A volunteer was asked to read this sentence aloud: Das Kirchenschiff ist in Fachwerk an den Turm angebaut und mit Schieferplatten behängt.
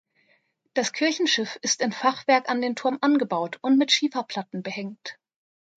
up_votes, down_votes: 2, 0